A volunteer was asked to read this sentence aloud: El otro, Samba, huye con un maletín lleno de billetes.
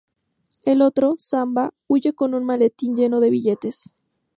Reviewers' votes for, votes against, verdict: 2, 0, accepted